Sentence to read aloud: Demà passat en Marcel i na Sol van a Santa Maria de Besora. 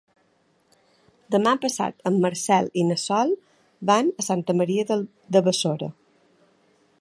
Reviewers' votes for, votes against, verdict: 1, 2, rejected